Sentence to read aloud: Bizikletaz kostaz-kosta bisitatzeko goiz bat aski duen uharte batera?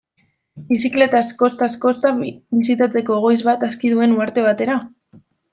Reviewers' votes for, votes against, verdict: 2, 1, accepted